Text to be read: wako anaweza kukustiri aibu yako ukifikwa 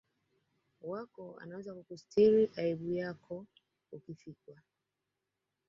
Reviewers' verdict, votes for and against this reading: accepted, 2, 0